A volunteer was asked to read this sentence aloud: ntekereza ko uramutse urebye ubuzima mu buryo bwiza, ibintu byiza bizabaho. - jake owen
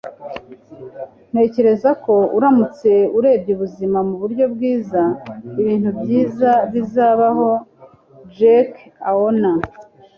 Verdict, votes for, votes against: accepted, 3, 0